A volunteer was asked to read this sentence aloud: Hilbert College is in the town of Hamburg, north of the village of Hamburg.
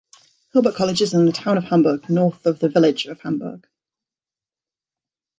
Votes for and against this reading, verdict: 2, 0, accepted